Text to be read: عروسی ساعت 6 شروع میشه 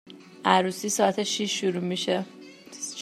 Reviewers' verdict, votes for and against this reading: rejected, 0, 2